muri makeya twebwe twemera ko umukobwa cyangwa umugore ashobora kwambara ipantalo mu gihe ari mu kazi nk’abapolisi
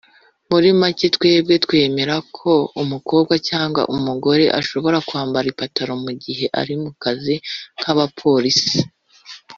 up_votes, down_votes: 1, 2